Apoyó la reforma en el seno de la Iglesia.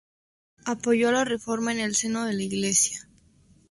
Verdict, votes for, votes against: rejected, 2, 2